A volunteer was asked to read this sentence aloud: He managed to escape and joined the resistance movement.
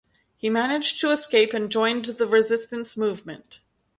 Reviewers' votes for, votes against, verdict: 0, 2, rejected